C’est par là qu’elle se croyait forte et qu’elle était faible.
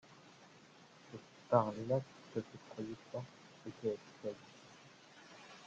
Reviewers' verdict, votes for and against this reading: rejected, 0, 2